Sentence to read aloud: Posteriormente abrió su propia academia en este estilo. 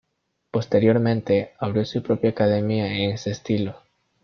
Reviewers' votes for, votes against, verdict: 1, 2, rejected